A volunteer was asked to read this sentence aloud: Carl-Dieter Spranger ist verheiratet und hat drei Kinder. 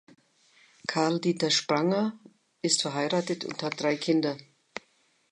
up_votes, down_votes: 2, 0